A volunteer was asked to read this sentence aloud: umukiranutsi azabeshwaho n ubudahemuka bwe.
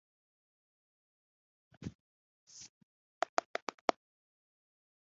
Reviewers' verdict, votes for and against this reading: rejected, 0, 2